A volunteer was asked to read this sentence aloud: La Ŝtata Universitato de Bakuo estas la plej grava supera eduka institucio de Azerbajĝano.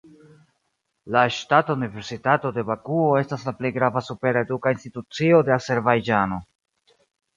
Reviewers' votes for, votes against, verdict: 2, 0, accepted